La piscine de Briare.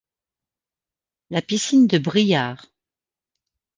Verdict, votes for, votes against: accepted, 2, 0